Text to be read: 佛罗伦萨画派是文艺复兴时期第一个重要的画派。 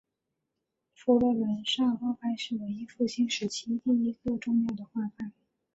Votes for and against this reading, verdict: 0, 2, rejected